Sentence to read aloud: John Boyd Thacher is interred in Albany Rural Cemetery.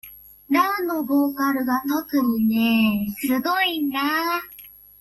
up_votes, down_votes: 0, 2